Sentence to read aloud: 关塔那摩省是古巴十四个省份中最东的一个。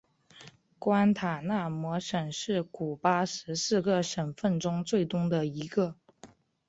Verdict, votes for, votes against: accepted, 4, 1